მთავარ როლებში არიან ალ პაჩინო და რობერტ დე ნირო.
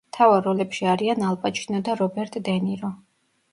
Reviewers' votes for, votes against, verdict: 2, 0, accepted